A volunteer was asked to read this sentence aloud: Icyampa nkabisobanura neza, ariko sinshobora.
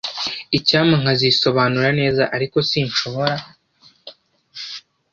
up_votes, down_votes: 1, 2